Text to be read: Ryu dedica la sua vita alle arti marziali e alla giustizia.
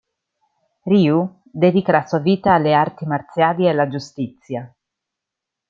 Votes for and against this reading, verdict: 1, 2, rejected